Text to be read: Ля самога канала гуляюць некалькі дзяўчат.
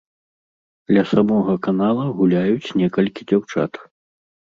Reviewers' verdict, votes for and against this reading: accepted, 2, 0